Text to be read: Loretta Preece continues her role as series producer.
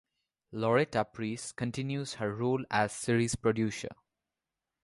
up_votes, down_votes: 2, 0